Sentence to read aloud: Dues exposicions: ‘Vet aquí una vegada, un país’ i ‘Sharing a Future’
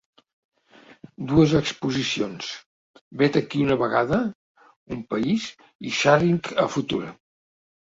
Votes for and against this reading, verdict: 2, 0, accepted